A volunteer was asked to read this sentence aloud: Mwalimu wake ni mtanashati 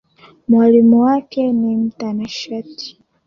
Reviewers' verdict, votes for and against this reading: accepted, 2, 1